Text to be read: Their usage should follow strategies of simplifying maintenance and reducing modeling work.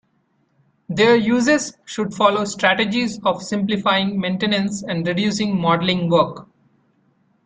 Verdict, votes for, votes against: accepted, 2, 0